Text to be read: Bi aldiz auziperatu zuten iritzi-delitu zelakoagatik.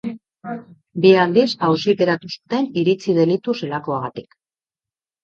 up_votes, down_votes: 2, 1